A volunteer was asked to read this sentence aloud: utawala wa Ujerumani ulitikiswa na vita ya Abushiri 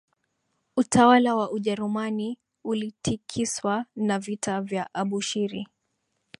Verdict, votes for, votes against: rejected, 2, 3